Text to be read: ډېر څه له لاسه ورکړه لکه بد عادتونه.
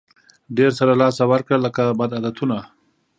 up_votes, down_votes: 2, 0